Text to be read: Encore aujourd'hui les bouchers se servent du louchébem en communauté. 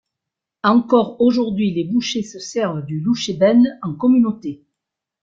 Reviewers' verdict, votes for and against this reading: accepted, 2, 0